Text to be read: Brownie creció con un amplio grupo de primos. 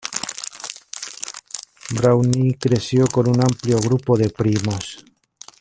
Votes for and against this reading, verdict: 1, 2, rejected